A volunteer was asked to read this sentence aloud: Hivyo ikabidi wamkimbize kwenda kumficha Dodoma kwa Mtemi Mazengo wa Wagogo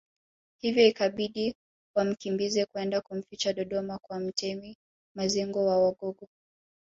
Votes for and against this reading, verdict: 0, 2, rejected